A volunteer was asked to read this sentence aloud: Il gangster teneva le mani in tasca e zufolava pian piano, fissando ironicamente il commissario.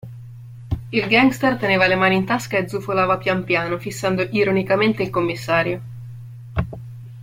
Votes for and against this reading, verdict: 2, 0, accepted